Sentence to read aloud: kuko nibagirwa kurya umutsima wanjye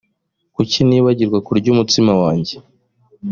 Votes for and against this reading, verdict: 0, 2, rejected